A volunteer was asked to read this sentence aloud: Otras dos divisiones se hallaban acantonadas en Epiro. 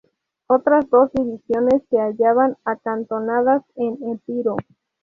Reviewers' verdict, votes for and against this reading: accepted, 2, 0